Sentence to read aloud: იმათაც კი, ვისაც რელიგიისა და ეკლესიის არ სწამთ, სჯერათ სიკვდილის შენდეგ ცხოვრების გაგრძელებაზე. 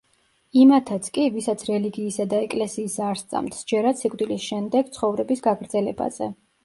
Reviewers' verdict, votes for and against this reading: accepted, 2, 0